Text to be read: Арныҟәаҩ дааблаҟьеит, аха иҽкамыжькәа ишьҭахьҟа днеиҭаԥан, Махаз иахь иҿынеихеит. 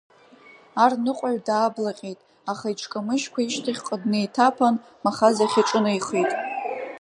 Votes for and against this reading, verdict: 2, 1, accepted